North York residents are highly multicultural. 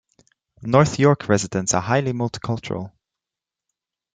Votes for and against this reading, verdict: 2, 0, accepted